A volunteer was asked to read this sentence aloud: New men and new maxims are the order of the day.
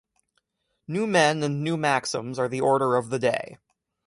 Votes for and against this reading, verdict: 2, 0, accepted